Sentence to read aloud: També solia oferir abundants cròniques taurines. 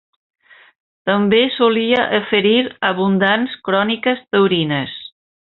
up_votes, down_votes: 2, 1